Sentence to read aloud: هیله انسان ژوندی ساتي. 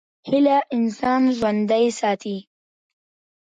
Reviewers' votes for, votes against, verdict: 1, 2, rejected